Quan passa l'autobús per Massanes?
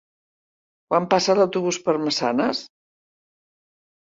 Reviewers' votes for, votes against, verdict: 2, 0, accepted